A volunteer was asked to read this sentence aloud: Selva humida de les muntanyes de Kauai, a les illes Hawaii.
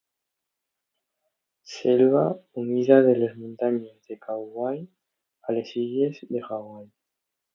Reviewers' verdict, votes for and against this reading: rejected, 0, 3